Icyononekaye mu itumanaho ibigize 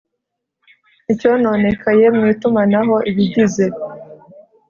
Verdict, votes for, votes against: accepted, 2, 0